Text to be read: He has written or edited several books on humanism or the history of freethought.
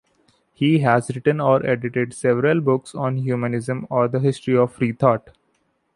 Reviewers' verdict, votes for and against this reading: accepted, 2, 0